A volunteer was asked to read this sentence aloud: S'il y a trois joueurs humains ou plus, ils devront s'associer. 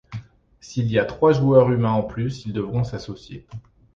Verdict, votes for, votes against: rejected, 1, 2